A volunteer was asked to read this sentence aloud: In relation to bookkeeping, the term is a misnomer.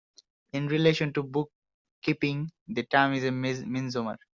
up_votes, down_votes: 0, 2